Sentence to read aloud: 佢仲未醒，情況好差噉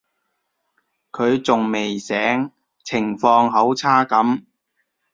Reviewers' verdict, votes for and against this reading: accepted, 2, 0